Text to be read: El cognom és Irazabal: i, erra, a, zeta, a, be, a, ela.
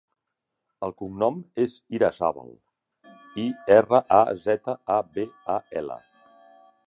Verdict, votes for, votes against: accepted, 2, 0